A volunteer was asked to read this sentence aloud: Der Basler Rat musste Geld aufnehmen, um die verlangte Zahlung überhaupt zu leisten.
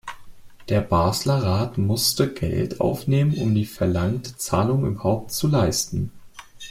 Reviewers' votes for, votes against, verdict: 2, 0, accepted